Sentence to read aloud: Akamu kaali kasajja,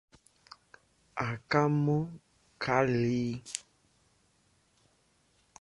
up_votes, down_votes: 0, 2